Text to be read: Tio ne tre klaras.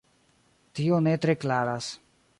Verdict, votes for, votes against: rejected, 1, 2